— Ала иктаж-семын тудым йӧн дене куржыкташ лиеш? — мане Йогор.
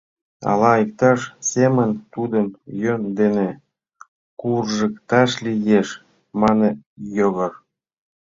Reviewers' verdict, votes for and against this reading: rejected, 1, 2